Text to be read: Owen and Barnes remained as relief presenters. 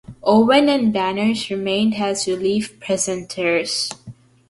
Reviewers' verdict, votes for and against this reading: accepted, 2, 0